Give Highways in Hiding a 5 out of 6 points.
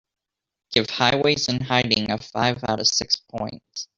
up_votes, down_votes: 0, 2